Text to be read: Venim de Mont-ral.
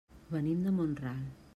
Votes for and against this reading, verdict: 3, 0, accepted